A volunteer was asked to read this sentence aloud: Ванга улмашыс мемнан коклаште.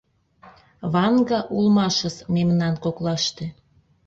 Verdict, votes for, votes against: accepted, 2, 0